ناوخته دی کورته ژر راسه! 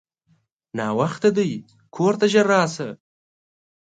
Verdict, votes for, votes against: accepted, 2, 0